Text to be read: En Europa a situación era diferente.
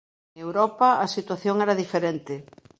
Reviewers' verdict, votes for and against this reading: rejected, 0, 3